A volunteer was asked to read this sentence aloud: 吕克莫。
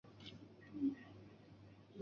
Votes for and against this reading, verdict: 0, 3, rejected